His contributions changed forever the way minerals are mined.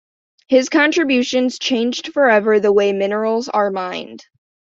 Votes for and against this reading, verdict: 2, 0, accepted